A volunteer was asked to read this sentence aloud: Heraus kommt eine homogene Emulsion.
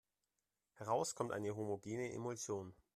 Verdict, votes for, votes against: accepted, 2, 1